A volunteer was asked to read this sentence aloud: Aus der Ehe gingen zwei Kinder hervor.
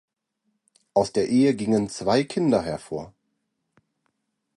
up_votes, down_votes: 2, 0